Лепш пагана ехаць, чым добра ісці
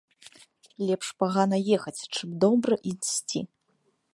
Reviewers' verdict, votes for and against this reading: rejected, 1, 2